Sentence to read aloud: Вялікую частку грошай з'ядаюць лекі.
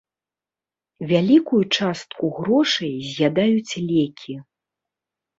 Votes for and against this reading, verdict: 2, 0, accepted